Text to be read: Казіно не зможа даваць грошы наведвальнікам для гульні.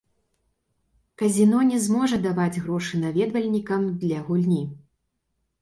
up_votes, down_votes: 2, 1